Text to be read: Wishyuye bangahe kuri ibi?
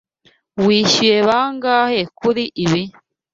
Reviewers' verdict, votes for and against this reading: accepted, 2, 0